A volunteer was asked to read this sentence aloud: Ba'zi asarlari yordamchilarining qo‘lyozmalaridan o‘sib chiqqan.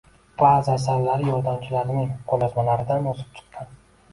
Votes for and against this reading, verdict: 2, 0, accepted